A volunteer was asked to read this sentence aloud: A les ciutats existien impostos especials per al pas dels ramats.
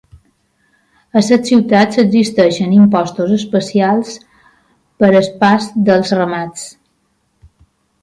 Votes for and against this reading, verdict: 0, 2, rejected